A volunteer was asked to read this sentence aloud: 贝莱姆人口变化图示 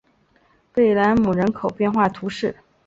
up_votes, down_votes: 2, 0